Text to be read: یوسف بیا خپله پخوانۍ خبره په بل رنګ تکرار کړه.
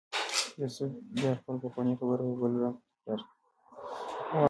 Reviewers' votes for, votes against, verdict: 1, 2, rejected